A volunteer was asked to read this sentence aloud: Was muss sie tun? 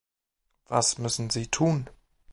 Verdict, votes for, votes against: rejected, 0, 2